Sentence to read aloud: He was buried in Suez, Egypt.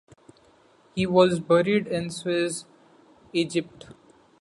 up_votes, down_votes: 2, 0